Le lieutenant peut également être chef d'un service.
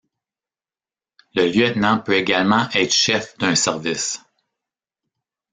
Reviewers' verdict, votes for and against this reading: rejected, 1, 2